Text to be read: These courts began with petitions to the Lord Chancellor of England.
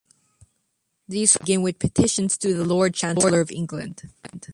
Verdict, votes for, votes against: rejected, 0, 2